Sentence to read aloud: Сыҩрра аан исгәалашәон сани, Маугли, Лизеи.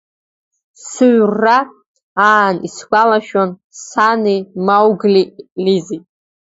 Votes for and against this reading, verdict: 0, 2, rejected